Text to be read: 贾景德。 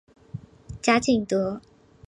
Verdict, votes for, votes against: accepted, 3, 0